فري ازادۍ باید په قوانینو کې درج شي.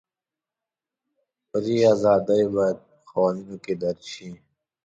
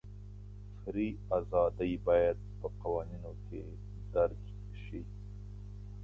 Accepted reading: first